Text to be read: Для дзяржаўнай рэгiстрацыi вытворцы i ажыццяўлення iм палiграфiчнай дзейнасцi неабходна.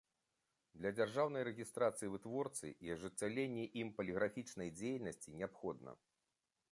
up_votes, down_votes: 2, 0